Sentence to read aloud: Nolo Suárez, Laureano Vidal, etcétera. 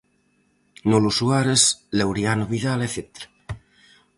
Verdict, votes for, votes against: accepted, 4, 0